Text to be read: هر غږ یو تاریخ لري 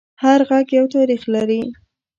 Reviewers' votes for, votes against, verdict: 2, 0, accepted